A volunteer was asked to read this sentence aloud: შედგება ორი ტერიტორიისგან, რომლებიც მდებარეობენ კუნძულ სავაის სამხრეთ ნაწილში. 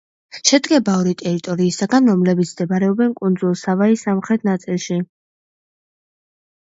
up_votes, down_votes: 2, 0